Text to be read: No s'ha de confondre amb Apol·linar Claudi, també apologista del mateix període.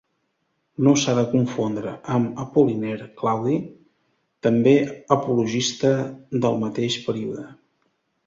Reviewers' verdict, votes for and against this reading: rejected, 1, 2